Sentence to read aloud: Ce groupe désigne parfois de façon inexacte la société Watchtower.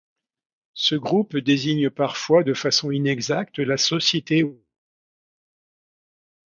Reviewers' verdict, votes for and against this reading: rejected, 0, 2